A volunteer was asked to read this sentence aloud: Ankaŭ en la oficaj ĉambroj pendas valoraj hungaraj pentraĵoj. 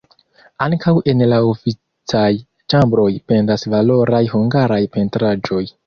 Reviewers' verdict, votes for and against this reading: rejected, 1, 2